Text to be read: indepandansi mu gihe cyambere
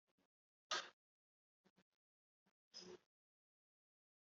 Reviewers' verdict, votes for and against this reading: rejected, 1, 2